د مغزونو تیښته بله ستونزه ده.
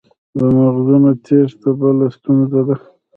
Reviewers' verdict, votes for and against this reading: rejected, 1, 2